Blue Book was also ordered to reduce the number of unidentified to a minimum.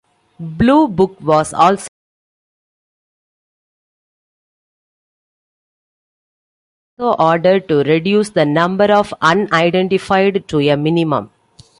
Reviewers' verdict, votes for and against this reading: rejected, 0, 2